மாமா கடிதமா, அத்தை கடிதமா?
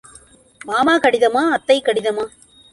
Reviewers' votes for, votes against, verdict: 2, 0, accepted